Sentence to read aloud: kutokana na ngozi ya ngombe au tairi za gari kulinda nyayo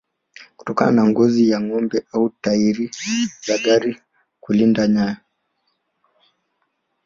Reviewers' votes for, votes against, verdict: 1, 2, rejected